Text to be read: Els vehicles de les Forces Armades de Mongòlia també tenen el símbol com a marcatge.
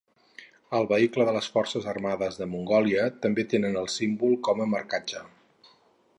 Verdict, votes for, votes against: rejected, 0, 2